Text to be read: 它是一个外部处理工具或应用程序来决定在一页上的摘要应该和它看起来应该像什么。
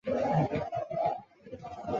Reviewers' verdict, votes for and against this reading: rejected, 2, 2